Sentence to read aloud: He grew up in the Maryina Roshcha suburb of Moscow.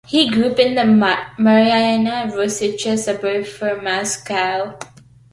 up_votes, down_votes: 0, 2